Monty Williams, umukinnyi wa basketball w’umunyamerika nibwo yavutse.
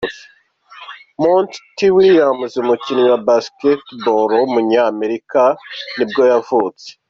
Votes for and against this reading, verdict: 2, 0, accepted